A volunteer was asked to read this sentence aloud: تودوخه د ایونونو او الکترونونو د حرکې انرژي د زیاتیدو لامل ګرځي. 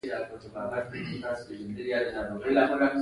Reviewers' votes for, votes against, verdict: 2, 1, accepted